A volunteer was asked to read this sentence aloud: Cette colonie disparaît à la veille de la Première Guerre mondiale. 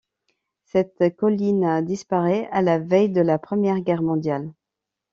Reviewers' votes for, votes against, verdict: 1, 2, rejected